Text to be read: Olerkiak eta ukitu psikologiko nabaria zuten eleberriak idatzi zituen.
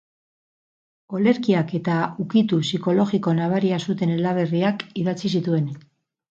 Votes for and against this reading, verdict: 2, 4, rejected